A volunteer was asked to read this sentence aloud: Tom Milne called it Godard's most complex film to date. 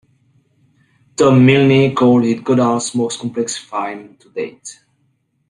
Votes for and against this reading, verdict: 0, 2, rejected